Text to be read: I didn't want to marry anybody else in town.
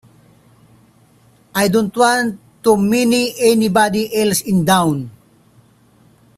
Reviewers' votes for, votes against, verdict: 0, 2, rejected